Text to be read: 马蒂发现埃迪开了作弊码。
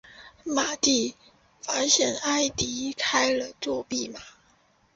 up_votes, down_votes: 2, 0